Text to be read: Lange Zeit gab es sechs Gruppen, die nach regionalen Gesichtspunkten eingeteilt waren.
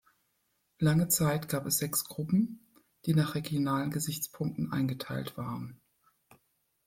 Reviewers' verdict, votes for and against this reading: rejected, 1, 2